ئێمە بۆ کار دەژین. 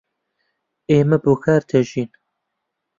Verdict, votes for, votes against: rejected, 1, 2